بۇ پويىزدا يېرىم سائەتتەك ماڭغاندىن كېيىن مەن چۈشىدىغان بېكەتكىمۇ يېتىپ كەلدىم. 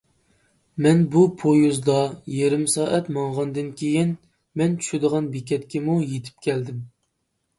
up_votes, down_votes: 0, 2